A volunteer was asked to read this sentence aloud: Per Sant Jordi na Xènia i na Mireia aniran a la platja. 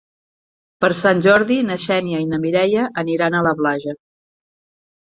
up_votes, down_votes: 1, 2